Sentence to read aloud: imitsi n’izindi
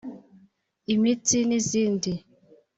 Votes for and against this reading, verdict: 3, 0, accepted